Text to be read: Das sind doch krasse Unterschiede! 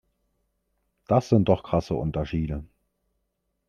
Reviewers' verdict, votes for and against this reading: accepted, 3, 0